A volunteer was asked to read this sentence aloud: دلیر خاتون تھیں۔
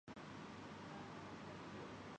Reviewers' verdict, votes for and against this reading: rejected, 0, 2